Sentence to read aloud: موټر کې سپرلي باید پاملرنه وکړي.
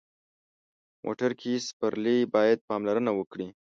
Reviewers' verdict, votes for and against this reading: accepted, 2, 0